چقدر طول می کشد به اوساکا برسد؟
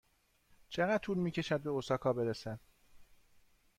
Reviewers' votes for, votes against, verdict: 2, 0, accepted